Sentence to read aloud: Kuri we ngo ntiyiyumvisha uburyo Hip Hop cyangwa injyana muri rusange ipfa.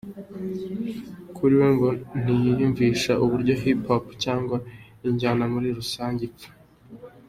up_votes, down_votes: 2, 0